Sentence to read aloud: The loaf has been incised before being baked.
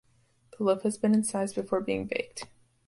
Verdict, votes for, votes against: accepted, 2, 0